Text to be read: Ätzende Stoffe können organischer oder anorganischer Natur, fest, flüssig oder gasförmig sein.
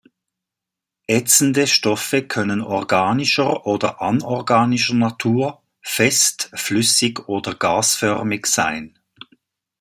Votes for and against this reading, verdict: 2, 0, accepted